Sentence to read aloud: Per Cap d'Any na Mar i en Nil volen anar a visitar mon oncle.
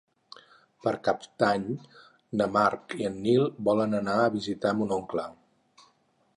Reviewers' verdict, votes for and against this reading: rejected, 0, 4